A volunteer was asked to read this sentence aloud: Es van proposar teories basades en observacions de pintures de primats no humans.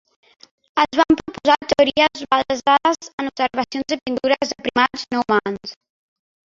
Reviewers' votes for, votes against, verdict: 0, 2, rejected